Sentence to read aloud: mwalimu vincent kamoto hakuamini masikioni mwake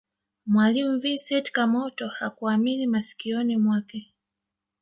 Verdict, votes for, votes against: accepted, 2, 0